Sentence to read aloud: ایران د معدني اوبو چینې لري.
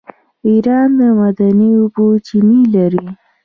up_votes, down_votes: 1, 2